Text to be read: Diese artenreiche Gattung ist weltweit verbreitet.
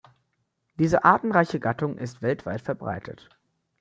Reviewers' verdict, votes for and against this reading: accepted, 2, 0